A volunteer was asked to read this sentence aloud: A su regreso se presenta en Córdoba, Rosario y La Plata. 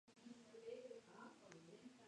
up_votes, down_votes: 0, 2